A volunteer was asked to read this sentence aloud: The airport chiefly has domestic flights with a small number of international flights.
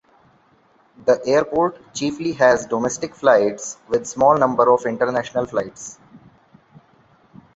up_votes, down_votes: 0, 2